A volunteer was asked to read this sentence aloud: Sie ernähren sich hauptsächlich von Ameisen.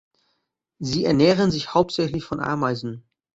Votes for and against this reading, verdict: 2, 0, accepted